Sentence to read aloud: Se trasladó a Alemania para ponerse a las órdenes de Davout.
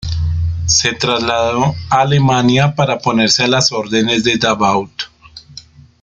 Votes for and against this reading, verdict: 2, 0, accepted